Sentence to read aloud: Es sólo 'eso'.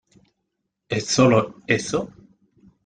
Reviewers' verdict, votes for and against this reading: accepted, 2, 1